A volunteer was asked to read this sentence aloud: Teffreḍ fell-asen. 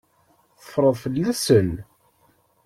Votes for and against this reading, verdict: 2, 0, accepted